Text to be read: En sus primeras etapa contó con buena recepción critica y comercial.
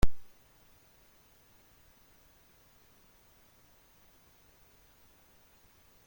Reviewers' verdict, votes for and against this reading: rejected, 0, 2